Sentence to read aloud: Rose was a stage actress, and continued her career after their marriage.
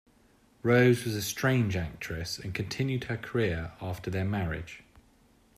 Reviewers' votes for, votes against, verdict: 0, 2, rejected